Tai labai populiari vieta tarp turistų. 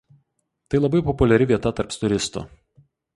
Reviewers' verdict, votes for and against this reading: rejected, 0, 4